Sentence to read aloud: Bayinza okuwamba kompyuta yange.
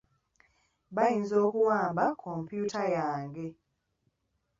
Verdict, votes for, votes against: accepted, 2, 0